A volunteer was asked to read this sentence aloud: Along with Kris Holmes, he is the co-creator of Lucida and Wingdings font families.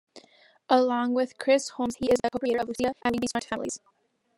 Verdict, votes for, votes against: rejected, 0, 2